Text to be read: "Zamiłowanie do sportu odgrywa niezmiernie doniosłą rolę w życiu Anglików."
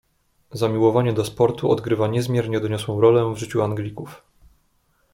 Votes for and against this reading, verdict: 2, 1, accepted